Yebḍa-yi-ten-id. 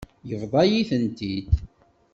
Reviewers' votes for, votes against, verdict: 0, 2, rejected